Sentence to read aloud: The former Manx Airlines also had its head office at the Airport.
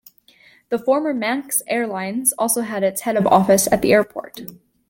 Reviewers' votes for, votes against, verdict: 2, 0, accepted